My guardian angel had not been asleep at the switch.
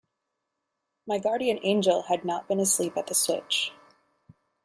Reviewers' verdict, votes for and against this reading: accepted, 2, 0